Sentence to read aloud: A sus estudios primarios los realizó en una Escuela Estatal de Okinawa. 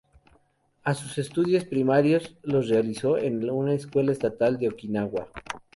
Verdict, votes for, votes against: accepted, 2, 0